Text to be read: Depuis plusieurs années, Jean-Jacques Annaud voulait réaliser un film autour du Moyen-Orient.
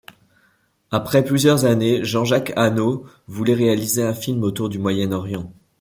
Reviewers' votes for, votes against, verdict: 0, 2, rejected